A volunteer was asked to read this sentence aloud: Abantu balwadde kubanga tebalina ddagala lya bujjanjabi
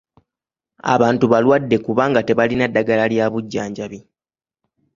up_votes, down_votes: 3, 0